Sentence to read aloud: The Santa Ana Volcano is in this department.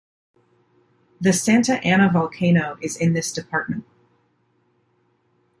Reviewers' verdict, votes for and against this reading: accepted, 2, 0